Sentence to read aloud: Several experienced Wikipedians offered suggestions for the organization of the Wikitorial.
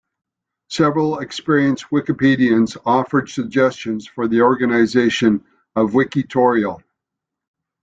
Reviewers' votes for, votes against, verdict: 0, 2, rejected